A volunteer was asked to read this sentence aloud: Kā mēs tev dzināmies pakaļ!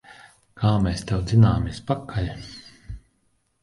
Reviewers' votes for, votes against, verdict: 4, 2, accepted